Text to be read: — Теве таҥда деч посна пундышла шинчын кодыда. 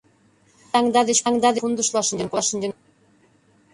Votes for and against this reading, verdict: 0, 2, rejected